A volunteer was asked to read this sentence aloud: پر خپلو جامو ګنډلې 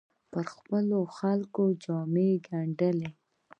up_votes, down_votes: 0, 2